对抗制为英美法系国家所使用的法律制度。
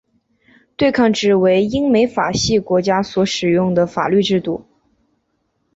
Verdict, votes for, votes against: accepted, 6, 0